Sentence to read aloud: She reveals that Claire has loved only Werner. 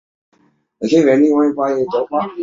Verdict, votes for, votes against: rejected, 0, 2